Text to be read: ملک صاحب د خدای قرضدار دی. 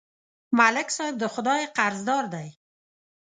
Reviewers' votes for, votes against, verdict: 2, 0, accepted